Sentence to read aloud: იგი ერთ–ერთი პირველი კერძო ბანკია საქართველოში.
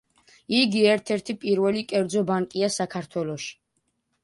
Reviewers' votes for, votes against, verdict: 2, 0, accepted